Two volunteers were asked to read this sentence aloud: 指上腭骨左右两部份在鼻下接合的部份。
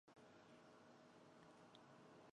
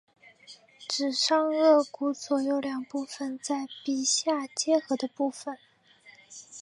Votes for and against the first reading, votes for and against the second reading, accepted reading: 0, 2, 2, 1, second